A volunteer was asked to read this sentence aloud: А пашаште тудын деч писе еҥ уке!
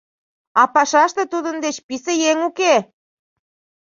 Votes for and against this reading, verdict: 3, 0, accepted